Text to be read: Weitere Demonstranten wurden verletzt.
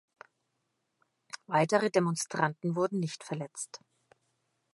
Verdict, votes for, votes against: rejected, 0, 2